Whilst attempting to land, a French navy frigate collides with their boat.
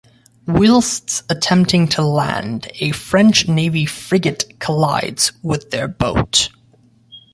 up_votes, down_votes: 2, 0